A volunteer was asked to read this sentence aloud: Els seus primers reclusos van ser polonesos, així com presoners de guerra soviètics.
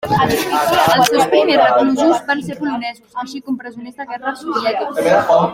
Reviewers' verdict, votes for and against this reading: rejected, 0, 2